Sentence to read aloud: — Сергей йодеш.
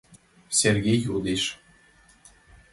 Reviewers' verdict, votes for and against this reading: accepted, 2, 0